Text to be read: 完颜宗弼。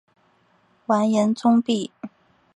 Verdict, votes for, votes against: accepted, 2, 0